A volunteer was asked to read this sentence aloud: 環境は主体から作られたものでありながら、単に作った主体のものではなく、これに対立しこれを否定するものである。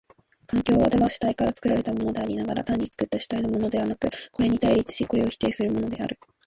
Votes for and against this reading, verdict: 0, 2, rejected